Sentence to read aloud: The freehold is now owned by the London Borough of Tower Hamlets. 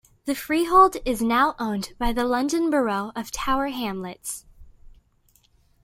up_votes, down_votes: 2, 0